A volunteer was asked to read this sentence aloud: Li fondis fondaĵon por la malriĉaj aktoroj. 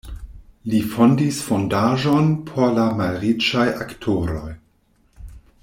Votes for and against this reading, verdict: 2, 0, accepted